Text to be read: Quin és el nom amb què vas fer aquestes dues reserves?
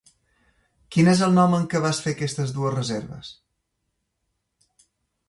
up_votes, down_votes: 2, 0